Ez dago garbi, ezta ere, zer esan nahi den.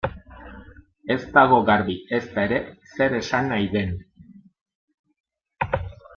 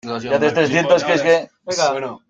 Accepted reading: first